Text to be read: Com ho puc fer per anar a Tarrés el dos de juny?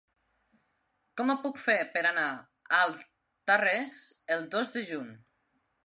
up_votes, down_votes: 1, 2